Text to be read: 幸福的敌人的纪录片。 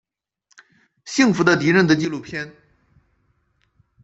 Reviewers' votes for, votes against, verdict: 2, 0, accepted